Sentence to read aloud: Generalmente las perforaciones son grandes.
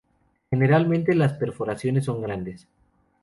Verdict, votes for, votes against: accepted, 2, 0